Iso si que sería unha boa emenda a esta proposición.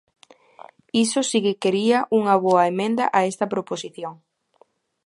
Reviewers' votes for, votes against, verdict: 0, 2, rejected